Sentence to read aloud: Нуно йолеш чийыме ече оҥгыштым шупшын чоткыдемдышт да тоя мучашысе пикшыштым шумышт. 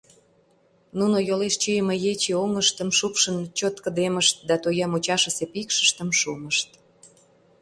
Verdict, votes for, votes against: rejected, 1, 2